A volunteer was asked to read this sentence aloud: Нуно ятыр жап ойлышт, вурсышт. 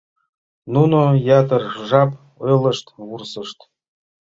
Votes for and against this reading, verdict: 2, 0, accepted